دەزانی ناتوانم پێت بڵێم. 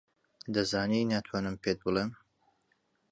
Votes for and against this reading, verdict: 2, 0, accepted